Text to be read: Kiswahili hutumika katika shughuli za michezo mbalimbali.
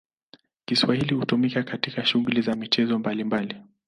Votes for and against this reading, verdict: 2, 0, accepted